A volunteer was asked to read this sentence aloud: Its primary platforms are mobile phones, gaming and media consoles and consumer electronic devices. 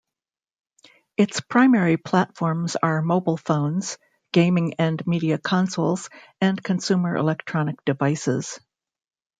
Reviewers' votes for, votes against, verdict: 2, 0, accepted